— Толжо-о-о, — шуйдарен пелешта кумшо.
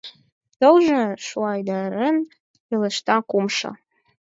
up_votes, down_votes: 0, 4